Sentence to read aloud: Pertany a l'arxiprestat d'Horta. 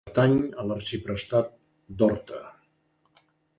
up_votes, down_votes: 0, 2